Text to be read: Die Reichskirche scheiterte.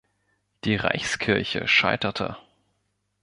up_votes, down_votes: 2, 0